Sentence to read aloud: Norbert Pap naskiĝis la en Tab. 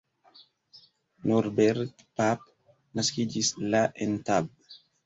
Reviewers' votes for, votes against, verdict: 2, 0, accepted